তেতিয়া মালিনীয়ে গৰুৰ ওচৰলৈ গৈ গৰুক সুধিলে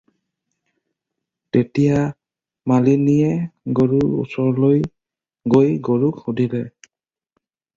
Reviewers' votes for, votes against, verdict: 0, 2, rejected